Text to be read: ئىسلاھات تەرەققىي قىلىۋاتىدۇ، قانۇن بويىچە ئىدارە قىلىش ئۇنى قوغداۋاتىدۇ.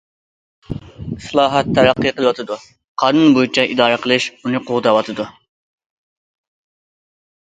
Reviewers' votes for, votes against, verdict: 2, 0, accepted